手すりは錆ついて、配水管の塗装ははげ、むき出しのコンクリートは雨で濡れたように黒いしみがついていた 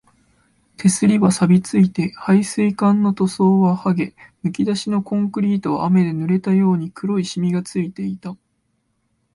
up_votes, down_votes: 2, 0